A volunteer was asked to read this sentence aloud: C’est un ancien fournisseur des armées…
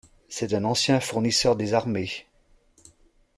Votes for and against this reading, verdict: 2, 0, accepted